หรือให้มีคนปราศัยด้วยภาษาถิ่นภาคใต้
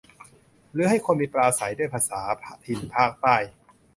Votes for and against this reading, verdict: 0, 2, rejected